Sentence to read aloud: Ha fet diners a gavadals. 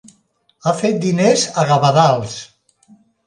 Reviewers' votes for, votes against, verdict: 2, 0, accepted